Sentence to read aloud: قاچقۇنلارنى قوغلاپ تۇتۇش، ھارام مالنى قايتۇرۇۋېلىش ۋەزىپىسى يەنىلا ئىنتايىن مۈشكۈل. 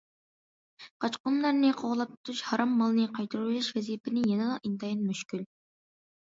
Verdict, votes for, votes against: rejected, 0, 2